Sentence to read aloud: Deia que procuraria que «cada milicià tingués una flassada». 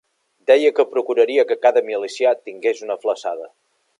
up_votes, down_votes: 2, 0